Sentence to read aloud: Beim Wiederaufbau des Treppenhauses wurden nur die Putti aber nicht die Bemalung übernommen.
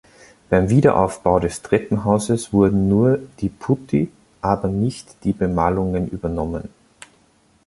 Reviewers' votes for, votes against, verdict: 1, 2, rejected